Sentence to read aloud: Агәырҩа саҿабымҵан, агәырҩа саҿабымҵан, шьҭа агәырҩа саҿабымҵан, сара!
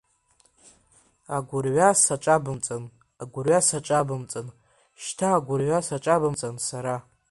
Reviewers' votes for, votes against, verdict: 5, 1, accepted